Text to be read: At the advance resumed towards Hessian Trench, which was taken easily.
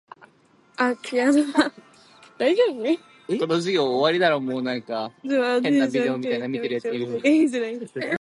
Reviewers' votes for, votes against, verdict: 2, 0, accepted